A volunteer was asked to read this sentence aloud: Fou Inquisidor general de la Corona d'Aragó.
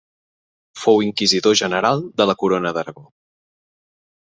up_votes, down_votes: 3, 0